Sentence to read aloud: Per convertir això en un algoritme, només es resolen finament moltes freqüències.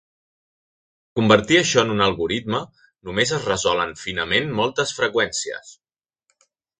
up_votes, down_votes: 1, 2